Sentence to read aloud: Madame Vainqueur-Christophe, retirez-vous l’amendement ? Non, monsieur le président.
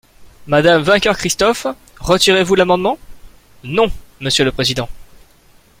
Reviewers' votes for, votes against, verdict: 2, 0, accepted